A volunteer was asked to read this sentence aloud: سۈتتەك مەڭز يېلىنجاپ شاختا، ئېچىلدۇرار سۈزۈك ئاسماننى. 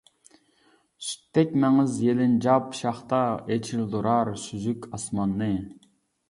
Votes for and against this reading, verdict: 2, 0, accepted